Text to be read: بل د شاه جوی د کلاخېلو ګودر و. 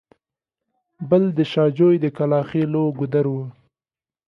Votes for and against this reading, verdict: 2, 0, accepted